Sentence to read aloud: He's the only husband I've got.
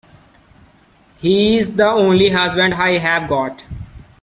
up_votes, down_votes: 1, 2